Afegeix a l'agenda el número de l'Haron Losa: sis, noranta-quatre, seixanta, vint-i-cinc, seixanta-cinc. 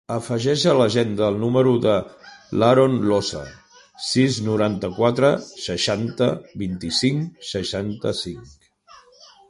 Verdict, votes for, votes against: accepted, 2, 1